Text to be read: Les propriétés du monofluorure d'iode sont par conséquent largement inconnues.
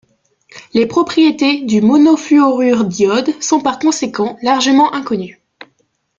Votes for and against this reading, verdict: 1, 2, rejected